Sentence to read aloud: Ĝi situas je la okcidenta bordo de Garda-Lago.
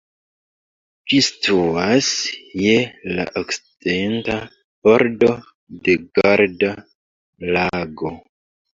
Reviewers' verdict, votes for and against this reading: rejected, 1, 2